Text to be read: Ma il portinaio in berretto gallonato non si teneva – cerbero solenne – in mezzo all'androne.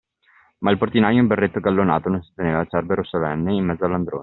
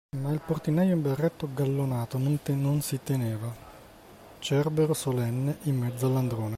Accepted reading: first